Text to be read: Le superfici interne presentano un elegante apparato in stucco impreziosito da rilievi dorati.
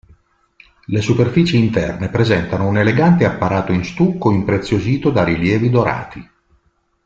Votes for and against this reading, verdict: 3, 0, accepted